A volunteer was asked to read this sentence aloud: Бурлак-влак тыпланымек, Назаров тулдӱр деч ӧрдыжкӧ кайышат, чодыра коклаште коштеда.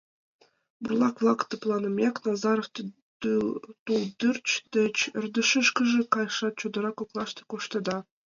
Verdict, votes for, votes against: rejected, 0, 2